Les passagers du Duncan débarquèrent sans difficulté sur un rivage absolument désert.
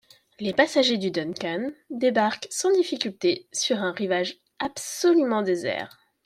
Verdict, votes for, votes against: accepted, 2, 1